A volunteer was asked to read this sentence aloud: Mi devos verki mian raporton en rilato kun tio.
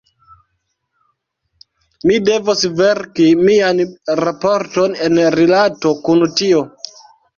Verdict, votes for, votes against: rejected, 0, 2